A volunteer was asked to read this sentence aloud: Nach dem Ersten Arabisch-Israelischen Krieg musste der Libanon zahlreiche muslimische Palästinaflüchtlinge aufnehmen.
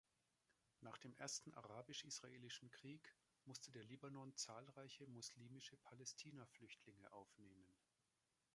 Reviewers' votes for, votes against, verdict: 1, 2, rejected